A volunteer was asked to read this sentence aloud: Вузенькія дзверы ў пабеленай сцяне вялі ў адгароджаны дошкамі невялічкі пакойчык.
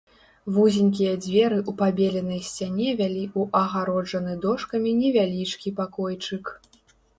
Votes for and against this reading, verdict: 2, 1, accepted